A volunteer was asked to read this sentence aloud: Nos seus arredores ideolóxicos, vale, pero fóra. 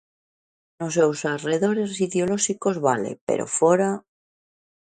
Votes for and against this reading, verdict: 2, 0, accepted